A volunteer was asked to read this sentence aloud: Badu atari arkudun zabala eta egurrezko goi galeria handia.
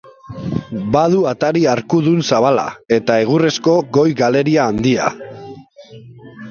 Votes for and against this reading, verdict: 0, 2, rejected